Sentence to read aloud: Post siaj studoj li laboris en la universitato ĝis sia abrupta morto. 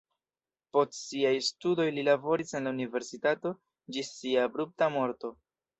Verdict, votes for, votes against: rejected, 1, 2